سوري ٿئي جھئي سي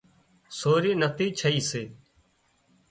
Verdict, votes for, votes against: rejected, 0, 2